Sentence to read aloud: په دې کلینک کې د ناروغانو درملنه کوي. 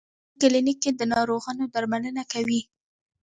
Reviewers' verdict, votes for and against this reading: rejected, 1, 2